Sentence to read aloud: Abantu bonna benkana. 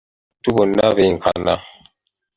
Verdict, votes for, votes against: rejected, 1, 2